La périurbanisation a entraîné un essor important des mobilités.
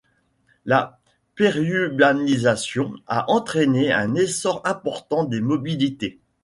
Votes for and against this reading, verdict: 2, 0, accepted